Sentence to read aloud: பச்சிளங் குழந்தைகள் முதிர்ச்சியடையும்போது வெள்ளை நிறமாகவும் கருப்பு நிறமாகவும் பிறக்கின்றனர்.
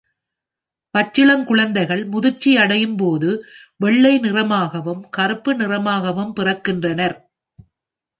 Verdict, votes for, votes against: accepted, 2, 0